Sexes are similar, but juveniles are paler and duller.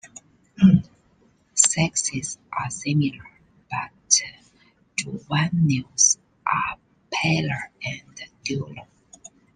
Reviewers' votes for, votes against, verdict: 0, 2, rejected